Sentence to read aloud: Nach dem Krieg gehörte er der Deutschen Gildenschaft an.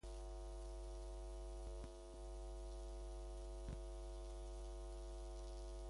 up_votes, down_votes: 0, 2